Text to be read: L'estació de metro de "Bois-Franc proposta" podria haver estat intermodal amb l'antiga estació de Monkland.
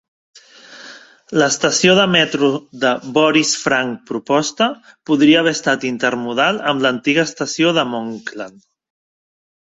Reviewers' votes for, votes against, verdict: 0, 2, rejected